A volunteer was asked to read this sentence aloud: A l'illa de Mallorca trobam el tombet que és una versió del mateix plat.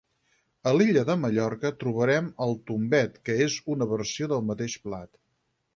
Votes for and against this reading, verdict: 0, 4, rejected